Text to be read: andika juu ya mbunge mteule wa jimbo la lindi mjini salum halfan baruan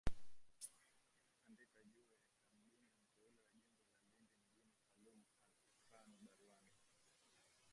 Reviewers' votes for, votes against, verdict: 1, 2, rejected